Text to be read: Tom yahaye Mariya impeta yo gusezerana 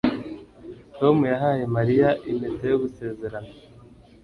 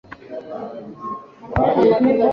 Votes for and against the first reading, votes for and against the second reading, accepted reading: 2, 0, 1, 2, first